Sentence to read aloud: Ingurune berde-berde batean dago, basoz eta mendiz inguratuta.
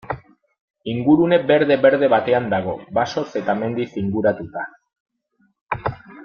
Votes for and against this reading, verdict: 2, 0, accepted